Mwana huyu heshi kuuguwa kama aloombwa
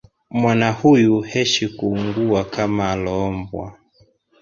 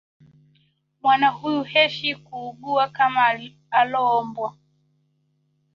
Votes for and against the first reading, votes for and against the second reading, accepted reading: 2, 0, 0, 2, first